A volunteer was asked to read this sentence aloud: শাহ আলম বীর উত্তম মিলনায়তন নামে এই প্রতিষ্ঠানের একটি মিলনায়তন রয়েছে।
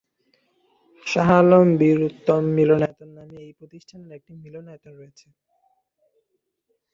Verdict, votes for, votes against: rejected, 1, 2